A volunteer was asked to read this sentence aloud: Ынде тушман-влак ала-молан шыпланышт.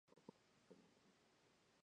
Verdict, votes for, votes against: rejected, 1, 2